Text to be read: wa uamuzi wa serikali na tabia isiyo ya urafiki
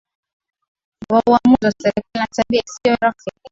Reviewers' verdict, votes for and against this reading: accepted, 6, 4